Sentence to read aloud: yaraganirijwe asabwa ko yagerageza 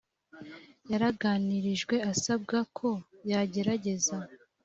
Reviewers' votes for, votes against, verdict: 2, 0, accepted